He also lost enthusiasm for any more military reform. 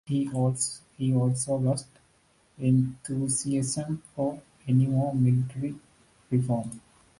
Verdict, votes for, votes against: rejected, 1, 2